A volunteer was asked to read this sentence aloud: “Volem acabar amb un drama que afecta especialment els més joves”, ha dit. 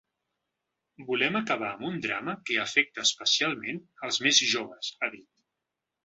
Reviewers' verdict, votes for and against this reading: accepted, 3, 0